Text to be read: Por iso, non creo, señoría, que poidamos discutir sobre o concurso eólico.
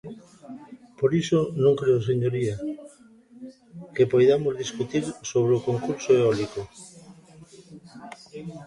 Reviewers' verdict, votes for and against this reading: rejected, 0, 2